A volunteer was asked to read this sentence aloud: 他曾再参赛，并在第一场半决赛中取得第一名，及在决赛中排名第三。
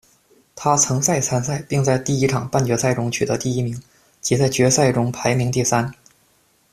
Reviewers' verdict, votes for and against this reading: accepted, 2, 0